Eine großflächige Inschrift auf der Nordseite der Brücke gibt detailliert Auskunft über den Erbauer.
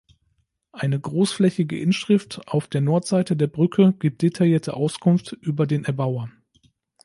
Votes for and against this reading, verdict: 1, 2, rejected